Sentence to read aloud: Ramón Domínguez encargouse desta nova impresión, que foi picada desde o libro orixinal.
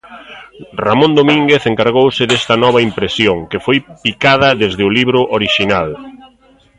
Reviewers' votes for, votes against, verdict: 0, 2, rejected